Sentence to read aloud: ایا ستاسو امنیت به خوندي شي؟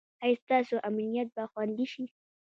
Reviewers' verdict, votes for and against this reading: rejected, 1, 2